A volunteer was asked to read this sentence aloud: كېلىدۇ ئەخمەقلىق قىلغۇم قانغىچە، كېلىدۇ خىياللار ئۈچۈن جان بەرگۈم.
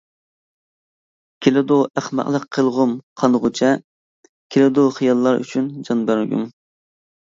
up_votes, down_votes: 2, 0